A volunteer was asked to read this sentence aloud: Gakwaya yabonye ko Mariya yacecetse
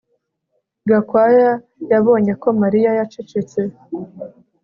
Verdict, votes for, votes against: accepted, 2, 0